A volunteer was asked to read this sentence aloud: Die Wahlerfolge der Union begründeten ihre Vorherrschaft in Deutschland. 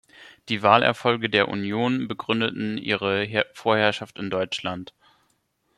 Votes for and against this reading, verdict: 1, 2, rejected